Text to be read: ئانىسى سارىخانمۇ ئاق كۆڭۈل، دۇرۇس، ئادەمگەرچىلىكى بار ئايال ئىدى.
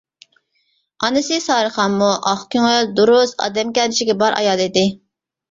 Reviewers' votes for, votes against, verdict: 2, 1, accepted